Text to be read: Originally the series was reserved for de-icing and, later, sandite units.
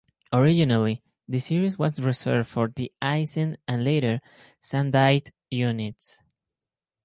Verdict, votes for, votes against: accepted, 2, 0